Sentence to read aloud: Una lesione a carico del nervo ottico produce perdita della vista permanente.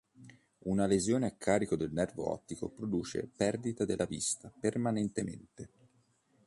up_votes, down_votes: 1, 2